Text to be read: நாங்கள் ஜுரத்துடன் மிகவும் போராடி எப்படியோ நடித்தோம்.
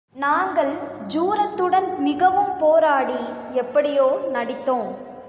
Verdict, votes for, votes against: rejected, 1, 2